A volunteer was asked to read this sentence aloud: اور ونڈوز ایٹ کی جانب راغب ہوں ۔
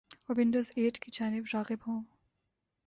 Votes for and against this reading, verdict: 2, 0, accepted